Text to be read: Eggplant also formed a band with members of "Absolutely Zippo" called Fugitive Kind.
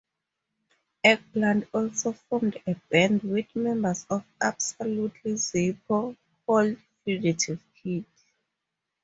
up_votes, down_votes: 2, 0